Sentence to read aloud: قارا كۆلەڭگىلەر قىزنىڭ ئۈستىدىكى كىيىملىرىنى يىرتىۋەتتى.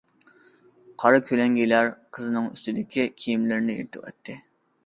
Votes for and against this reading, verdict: 2, 0, accepted